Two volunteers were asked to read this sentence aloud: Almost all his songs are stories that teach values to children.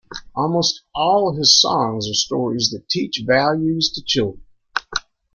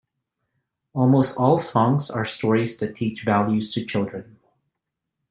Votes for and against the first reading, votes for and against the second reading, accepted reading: 2, 0, 0, 2, first